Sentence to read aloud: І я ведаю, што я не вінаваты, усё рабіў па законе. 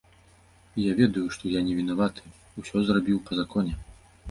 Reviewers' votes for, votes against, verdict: 0, 2, rejected